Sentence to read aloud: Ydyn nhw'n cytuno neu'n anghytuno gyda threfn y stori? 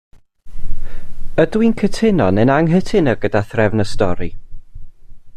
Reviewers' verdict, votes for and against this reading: rejected, 1, 2